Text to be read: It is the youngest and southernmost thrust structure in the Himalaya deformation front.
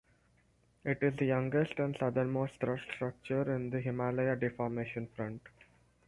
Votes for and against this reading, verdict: 0, 2, rejected